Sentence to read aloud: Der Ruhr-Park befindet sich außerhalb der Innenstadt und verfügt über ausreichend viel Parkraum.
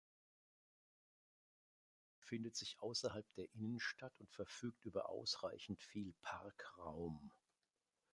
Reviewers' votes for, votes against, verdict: 0, 2, rejected